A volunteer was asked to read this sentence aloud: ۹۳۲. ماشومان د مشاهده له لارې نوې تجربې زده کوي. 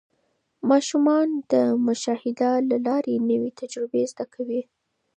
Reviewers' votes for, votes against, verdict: 0, 2, rejected